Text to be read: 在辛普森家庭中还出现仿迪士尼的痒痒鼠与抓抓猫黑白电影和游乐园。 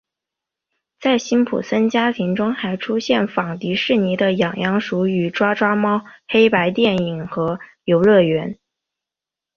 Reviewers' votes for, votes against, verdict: 5, 1, accepted